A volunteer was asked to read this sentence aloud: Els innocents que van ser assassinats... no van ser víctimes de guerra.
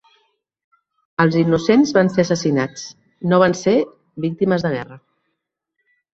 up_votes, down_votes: 1, 2